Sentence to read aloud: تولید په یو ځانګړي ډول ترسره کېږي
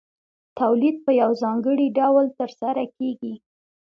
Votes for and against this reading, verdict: 2, 0, accepted